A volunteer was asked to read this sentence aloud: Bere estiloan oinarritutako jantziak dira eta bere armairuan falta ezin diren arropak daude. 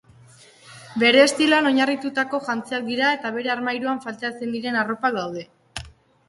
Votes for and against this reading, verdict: 2, 1, accepted